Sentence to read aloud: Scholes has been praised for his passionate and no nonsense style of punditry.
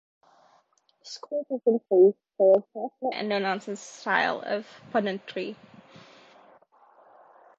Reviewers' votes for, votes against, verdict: 1, 2, rejected